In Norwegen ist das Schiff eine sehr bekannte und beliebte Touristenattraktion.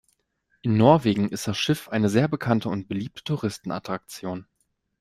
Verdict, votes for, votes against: accepted, 2, 0